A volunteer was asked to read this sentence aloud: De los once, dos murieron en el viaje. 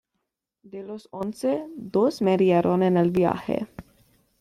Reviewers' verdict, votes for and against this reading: accepted, 2, 1